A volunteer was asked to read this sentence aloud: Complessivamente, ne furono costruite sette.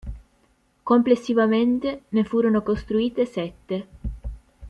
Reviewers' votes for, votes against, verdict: 2, 0, accepted